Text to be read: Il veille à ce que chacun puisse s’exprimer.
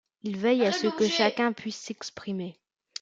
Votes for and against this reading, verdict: 1, 2, rejected